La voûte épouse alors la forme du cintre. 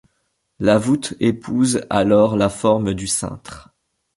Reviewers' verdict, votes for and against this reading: accepted, 2, 0